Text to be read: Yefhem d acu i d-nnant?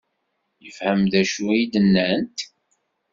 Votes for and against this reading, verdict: 2, 0, accepted